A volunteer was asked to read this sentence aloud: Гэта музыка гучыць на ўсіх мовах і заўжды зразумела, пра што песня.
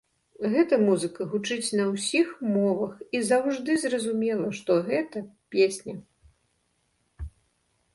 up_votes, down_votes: 0, 2